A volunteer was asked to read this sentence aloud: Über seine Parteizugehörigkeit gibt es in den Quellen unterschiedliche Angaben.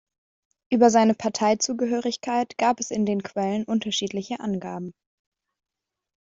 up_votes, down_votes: 0, 2